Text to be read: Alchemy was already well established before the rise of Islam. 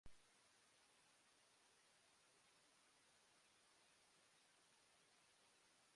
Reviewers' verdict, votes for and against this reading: rejected, 0, 2